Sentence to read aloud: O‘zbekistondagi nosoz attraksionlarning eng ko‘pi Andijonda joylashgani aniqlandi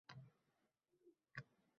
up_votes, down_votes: 0, 2